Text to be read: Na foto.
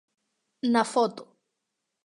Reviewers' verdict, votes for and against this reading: accepted, 2, 0